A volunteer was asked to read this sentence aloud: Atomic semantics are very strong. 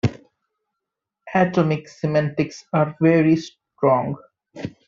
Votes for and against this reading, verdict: 2, 0, accepted